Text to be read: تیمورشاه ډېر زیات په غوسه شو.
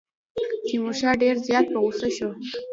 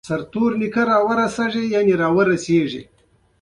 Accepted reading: second